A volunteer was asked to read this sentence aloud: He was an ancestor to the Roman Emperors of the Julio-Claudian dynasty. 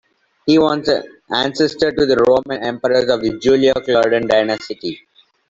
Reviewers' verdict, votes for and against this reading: rejected, 0, 2